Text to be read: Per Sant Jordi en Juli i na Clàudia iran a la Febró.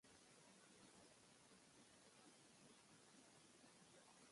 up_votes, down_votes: 0, 3